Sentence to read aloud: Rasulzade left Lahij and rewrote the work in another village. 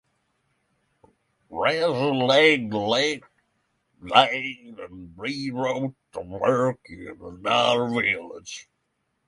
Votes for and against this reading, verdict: 0, 6, rejected